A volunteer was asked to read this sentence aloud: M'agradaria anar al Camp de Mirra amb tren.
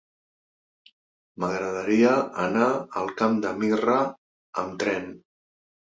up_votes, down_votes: 4, 0